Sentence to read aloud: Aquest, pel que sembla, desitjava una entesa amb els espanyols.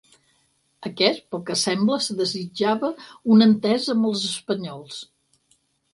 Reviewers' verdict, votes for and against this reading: rejected, 2, 4